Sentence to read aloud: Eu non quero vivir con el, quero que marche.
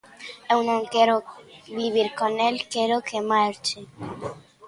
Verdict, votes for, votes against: rejected, 0, 2